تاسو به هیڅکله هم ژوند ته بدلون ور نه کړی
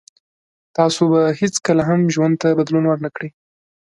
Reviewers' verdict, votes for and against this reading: accepted, 2, 0